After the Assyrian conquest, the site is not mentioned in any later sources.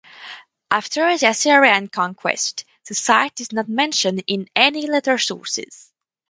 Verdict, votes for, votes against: accepted, 2, 0